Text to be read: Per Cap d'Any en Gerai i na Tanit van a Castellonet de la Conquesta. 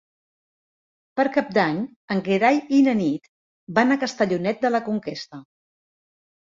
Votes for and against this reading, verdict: 1, 2, rejected